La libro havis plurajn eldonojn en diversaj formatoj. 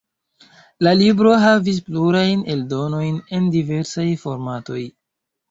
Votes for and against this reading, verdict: 2, 0, accepted